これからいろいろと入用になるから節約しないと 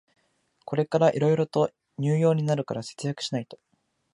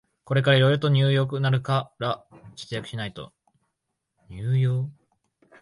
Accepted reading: first